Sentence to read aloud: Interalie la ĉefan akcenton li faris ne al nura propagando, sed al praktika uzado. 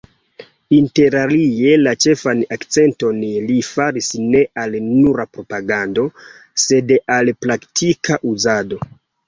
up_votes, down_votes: 1, 2